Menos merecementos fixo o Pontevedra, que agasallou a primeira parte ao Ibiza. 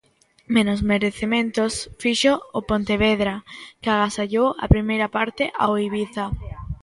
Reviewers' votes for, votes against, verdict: 2, 1, accepted